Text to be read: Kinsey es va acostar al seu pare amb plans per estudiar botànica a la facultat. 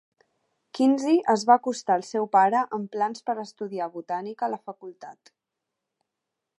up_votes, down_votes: 3, 0